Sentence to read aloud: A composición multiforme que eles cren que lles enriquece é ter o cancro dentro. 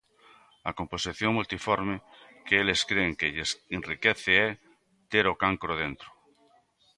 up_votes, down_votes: 2, 0